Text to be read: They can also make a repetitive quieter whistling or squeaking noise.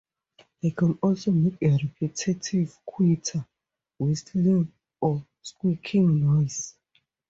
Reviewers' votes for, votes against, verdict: 4, 0, accepted